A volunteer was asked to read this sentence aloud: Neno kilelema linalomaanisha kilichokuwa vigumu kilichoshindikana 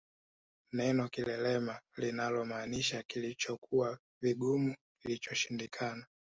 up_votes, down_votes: 2, 0